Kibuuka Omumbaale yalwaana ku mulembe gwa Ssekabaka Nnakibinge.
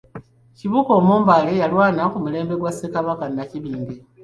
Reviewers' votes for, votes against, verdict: 3, 0, accepted